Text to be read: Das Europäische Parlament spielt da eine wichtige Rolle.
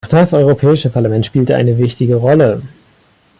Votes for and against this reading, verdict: 1, 2, rejected